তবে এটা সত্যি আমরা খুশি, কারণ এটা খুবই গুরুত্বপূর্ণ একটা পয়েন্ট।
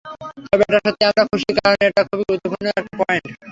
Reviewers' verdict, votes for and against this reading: rejected, 0, 3